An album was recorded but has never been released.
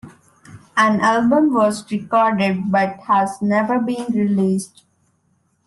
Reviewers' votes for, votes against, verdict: 2, 0, accepted